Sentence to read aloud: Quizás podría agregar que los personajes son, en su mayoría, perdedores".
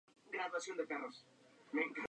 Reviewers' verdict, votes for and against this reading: rejected, 0, 4